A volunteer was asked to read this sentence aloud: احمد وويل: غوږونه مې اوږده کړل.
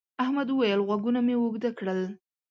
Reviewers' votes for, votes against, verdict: 2, 0, accepted